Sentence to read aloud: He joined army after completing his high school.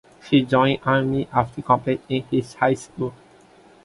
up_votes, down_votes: 0, 2